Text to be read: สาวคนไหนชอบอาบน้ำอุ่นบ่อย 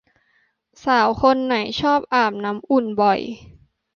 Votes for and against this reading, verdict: 2, 0, accepted